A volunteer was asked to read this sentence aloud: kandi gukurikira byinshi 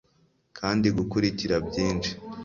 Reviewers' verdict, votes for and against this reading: accepted, 2, 0